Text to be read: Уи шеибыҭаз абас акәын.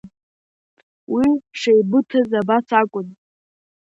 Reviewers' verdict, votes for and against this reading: rejected, 0, 2